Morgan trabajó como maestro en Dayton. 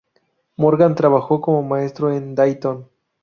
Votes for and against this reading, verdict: 0, 2, rejected